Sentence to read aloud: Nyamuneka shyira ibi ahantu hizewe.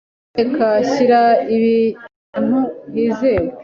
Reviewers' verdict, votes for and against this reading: rejected, 1, 3